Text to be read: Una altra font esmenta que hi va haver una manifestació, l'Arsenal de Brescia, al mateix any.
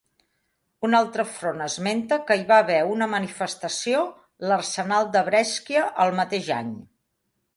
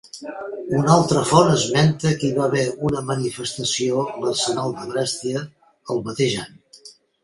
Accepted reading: first